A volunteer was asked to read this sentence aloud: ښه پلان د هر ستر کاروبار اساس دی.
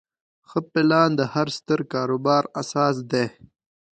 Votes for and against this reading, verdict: 2, 0, accepted